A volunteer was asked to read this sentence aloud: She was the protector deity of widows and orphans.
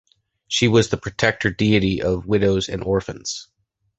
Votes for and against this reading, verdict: 2, 0, accepted